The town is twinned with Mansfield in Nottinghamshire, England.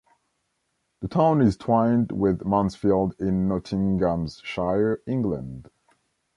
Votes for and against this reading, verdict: 0, 2, rejected